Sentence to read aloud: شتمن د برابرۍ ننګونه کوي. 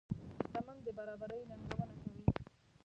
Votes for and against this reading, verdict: 0, 2, rejected